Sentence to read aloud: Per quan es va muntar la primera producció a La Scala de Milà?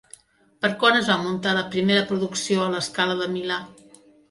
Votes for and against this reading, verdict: 2, 0, accepted